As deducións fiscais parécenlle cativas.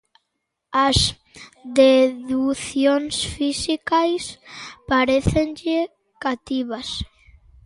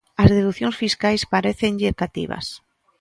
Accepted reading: second